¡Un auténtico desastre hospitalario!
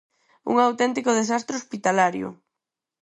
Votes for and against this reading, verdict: 4, 0, accepted